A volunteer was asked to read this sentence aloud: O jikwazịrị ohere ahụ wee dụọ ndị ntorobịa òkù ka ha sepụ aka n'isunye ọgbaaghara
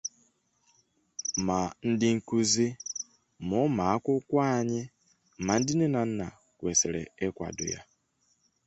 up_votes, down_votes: 0, 2